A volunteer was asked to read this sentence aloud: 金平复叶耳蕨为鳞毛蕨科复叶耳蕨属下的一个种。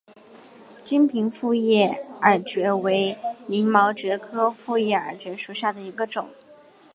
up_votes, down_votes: 2, 1